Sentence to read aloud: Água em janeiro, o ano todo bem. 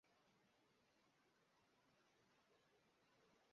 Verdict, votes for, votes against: rejected, 1, 2